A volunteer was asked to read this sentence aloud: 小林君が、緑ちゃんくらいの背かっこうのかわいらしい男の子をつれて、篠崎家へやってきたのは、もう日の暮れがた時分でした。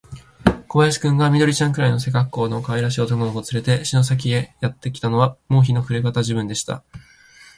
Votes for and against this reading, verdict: 0, 3, rejected